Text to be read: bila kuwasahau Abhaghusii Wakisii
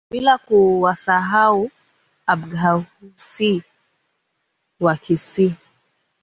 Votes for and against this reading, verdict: 0, 2, rejected